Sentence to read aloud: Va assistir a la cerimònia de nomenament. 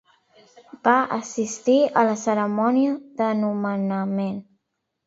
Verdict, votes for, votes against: rejected, 1, 2